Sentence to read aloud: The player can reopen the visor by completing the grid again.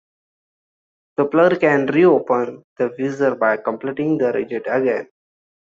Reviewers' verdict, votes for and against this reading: rejected, 0, 2